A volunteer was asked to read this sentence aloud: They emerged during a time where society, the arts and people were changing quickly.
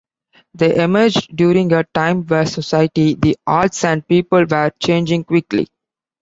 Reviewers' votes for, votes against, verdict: 2, 0, accepted